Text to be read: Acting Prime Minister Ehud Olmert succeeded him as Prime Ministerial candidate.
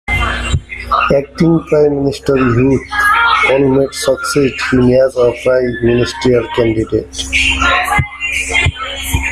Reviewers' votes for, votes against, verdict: 1, 2, rejected